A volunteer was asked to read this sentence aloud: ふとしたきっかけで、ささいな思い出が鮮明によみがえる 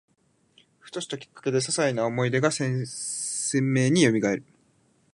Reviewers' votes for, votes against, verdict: 0, 2, rejected